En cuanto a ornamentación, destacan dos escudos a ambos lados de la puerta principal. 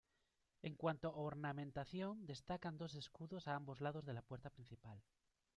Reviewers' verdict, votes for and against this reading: rejected, 0, 2